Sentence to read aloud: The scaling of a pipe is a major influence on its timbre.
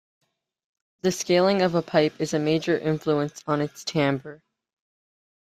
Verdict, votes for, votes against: accepted, 2, 0